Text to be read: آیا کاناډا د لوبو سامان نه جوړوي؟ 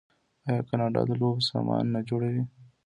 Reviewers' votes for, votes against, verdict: 2, 0, accepted